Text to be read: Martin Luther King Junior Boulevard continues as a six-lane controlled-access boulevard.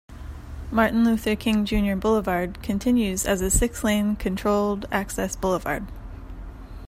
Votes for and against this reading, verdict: 2, 1, accepted